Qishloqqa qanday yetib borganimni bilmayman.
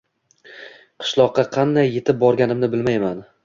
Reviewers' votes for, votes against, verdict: 1, 2, rejected